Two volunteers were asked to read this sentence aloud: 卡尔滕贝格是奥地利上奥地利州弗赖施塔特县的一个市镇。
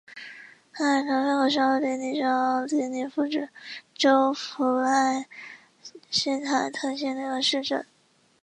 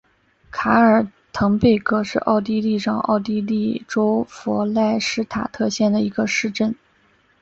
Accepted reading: second